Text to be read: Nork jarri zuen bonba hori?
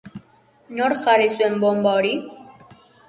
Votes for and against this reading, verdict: 1, 2, rejected